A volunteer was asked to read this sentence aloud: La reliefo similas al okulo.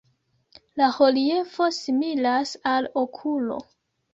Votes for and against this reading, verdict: 2, 1, accepted